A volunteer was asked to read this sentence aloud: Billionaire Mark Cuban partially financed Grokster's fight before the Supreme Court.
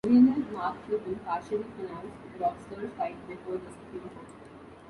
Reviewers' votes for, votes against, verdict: 1, 2, rejected